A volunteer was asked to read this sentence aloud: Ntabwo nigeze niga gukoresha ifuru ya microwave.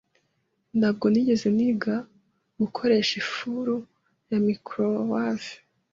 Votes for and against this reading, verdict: 2, 0, accepted